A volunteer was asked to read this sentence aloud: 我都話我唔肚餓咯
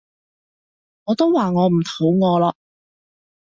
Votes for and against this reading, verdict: 0, 2, rejected